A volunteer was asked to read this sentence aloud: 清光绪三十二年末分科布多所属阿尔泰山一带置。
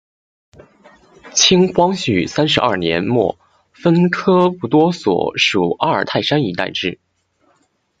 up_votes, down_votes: 2, 0